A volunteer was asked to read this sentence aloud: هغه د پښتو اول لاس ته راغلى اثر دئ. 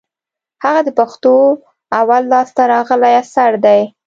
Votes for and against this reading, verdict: 2, 0, accepted